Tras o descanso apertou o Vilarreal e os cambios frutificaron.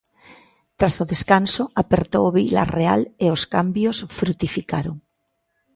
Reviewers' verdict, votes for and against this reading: accepted, 2, 1